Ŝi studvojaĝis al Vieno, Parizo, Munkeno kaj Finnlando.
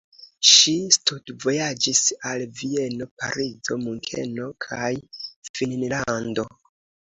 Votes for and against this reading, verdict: 2, 0, accepted